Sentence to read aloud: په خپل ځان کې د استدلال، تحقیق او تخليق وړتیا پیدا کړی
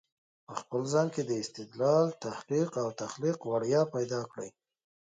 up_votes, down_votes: 2, 0